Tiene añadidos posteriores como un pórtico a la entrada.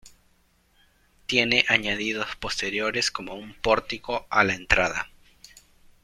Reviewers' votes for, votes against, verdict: 2, 0, accepted